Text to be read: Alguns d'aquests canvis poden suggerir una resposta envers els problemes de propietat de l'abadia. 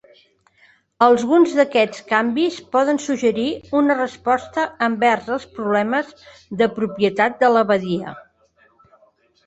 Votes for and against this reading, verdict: 1, 2, rejected